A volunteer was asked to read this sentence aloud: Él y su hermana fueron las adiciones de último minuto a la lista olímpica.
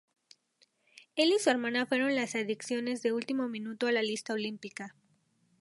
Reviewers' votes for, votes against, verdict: 0, 2, rejected